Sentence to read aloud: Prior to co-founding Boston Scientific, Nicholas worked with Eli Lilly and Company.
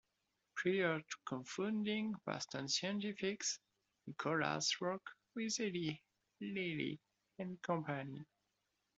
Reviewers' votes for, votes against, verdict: 1, 2, rejected